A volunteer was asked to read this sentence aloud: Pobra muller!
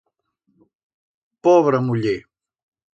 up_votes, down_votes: 2, 0